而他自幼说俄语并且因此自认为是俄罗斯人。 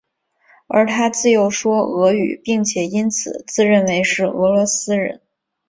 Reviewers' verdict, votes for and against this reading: accepted, 7, 0